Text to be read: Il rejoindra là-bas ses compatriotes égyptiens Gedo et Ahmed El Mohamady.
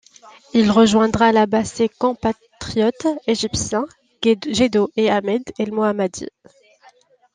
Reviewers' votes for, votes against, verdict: 0, 2, rejected